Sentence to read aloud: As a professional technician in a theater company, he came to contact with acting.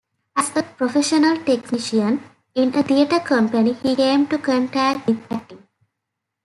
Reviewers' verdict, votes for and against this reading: rejected, 0, 2